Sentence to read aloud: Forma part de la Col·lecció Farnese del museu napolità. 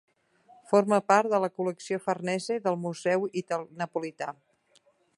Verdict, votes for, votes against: rejected, 0, 2